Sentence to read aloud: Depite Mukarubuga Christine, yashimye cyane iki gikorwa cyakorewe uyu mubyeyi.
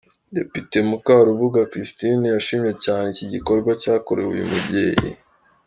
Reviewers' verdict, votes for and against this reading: accepted, 3, 0